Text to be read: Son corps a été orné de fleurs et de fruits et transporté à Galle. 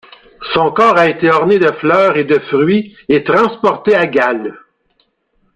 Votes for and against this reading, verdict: 1, 2, rejected